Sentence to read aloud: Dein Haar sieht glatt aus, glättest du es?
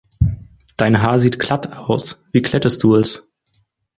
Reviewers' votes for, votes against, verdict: 0, 4, rejected